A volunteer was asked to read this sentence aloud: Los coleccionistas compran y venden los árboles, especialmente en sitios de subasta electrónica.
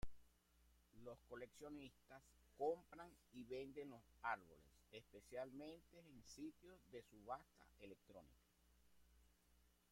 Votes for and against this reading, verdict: 1, 2, rejected